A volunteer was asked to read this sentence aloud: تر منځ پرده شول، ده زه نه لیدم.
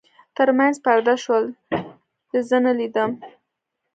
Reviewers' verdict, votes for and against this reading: accepted, 2, 0